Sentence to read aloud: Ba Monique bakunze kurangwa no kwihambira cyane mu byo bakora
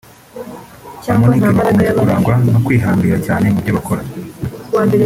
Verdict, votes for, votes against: rejected, 1, 2